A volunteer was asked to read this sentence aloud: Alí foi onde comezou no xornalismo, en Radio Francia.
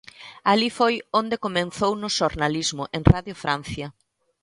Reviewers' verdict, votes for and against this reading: rejected, 1, 3